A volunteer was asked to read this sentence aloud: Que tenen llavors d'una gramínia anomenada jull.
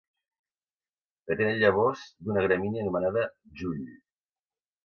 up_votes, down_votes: 2, 0